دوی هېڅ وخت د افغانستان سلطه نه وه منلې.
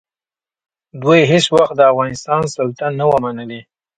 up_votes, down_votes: 2, 1